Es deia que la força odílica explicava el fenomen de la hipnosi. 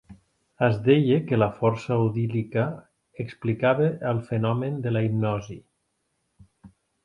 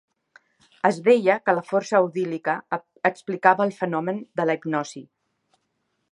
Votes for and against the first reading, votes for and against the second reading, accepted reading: 3, 0, 1, 2, first